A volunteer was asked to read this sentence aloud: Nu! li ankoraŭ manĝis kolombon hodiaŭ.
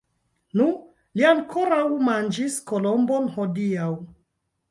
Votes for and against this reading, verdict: 2, 1, accepted